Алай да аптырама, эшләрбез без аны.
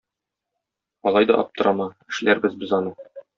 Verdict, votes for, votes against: accepted, 2, 0